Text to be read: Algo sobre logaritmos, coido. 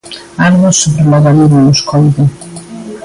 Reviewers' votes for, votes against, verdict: 2, 0, accepted